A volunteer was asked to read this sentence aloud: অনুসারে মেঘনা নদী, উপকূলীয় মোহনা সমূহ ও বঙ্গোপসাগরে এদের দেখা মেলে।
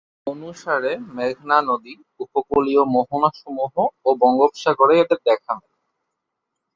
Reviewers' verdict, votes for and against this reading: rejected, 2, 2